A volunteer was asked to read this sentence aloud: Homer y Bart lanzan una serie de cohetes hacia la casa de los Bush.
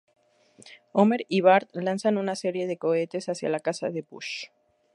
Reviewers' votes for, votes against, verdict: 2, 2, rejected